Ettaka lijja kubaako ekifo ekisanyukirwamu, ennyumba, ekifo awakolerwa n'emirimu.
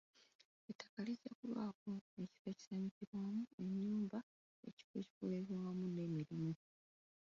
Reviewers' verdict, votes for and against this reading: rejected, 0, 2